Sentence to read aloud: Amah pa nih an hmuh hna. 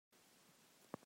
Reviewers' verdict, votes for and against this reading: rejected, 0, 2